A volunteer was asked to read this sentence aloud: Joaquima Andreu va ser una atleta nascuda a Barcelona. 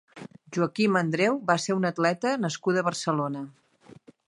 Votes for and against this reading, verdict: 2, 0, accepted